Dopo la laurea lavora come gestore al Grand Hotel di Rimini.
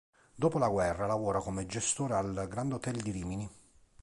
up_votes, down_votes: 0, 2